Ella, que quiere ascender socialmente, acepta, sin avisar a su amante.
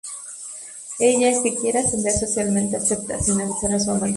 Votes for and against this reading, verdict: 0, 2, rejected